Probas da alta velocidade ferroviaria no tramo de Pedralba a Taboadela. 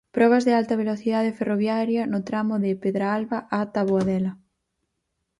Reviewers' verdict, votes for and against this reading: rejected, 0, 4